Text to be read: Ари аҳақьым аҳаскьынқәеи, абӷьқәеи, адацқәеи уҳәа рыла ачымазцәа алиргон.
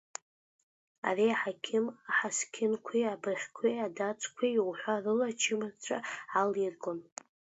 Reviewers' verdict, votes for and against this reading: rejected, 0, 2